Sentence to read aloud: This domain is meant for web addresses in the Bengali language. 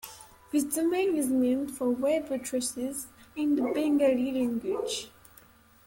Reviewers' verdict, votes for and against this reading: accepted, 2, 1